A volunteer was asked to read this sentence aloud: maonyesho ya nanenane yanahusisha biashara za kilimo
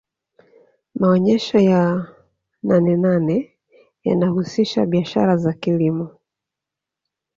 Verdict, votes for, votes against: accepted, 2, 0